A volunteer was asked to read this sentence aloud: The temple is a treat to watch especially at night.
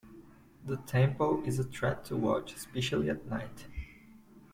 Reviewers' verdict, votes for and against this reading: accepted, 2, 1